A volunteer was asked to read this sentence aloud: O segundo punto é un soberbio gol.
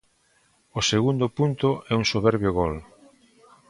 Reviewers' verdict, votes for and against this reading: accepted, 2, 0